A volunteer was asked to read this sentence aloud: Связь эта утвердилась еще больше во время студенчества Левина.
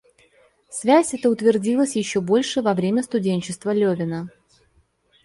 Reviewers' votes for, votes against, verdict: 1, 2, rejected